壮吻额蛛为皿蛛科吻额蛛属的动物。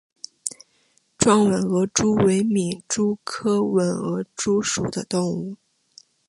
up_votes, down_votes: 2, 0